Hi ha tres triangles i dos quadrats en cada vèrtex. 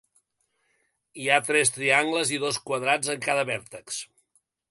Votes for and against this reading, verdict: 2, 0, accepted